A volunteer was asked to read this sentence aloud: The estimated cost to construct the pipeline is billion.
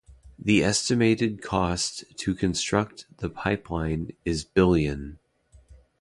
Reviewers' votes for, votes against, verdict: 2, 0, accepted